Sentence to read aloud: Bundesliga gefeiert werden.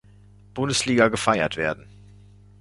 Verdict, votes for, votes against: accepted, 2, 0